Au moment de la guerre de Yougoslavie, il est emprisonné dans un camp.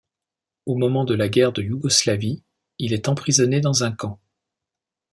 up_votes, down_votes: 2, 0